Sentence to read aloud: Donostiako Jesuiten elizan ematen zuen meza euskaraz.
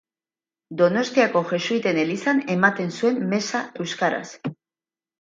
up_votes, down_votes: 6, 0